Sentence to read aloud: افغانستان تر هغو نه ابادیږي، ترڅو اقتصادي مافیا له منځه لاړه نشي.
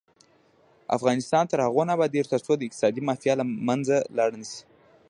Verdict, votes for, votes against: rejected, 0, 2